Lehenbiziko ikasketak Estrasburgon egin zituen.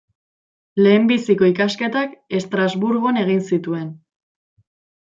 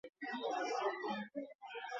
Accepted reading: first